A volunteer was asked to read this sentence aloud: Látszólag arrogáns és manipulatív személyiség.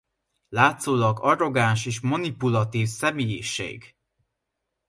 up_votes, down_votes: 2, 0